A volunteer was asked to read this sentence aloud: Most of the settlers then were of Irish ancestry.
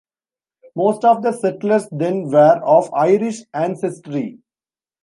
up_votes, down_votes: 2, 0